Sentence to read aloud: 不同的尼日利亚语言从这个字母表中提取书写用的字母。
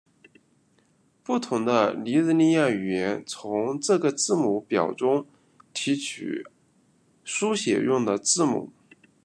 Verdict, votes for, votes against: rejected, 1, 2